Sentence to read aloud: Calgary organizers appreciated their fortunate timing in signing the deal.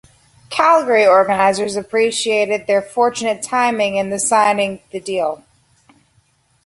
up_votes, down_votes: 1, 2